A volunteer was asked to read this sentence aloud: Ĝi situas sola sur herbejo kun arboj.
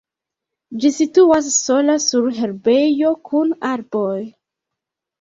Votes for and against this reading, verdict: 2, 1, accepted